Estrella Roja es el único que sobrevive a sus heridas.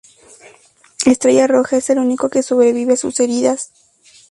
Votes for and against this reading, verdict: 2, 0, accepted